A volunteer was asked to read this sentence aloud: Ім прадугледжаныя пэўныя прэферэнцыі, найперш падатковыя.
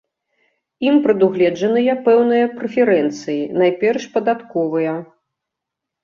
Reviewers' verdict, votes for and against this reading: accepted, 2, 0